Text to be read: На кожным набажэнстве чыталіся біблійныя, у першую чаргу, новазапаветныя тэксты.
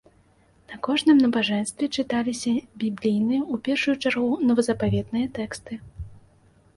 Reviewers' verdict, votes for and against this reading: accepted, 2, 0